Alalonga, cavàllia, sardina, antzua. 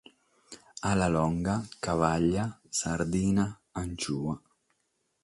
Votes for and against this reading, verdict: 6, 0, accepted